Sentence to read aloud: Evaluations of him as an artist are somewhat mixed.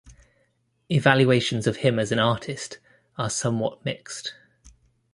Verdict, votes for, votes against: accepted, 2, 0